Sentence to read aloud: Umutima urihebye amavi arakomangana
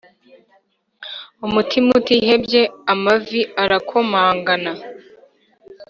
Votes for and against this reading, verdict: 1, 3, rejected